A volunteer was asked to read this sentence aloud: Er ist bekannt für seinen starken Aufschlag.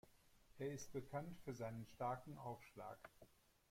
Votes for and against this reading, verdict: 1, 2, rejected